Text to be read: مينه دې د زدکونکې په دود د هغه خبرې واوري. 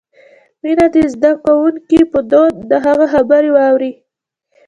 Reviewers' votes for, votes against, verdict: 0, 2, rejected